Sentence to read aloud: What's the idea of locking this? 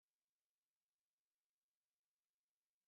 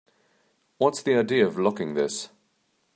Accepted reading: second